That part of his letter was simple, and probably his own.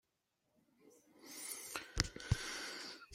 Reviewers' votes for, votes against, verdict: 0, 2, rejected